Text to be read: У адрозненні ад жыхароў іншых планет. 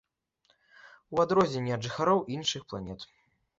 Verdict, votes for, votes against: accepted, 2, 0